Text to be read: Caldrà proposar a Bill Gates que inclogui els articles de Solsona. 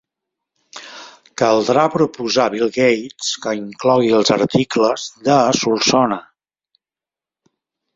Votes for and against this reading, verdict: 2, 0, accepted